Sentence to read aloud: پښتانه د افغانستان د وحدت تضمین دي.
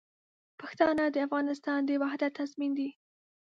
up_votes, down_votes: 2, 0